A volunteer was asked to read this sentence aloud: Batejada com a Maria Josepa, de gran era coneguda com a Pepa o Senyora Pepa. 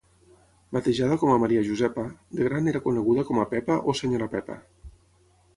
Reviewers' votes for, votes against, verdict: 3, 3, rejected